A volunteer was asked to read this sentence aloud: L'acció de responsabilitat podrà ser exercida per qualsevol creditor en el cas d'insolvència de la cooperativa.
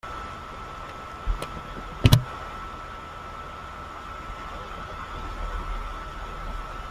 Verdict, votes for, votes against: rejected, 0, 2